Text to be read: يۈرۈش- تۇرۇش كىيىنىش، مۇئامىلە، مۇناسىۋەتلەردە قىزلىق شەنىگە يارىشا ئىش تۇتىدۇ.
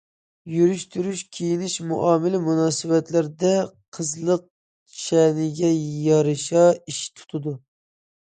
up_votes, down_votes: 2, 0